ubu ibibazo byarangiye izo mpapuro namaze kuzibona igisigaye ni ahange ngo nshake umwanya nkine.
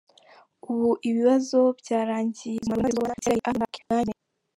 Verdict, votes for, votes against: rejected, 0, 3